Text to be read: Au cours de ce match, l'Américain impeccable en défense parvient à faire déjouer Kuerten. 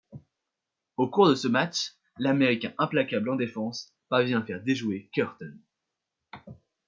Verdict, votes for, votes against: rejected, 1, 2